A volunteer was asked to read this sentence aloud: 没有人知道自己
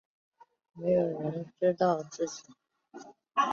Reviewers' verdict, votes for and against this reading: accepted, 4, 0